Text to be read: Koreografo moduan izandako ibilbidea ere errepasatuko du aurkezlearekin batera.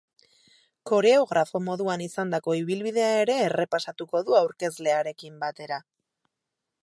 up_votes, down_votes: 8, 0